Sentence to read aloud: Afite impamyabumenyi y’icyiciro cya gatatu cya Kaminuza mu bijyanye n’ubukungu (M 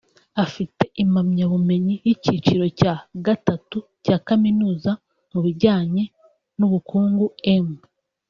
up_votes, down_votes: 1, 2